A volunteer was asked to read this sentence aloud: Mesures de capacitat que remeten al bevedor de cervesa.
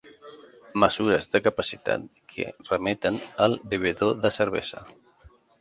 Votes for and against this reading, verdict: 2, 0, accepted